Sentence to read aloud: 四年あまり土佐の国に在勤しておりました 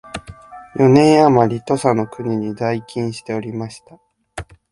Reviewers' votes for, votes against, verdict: 4, 0, accepted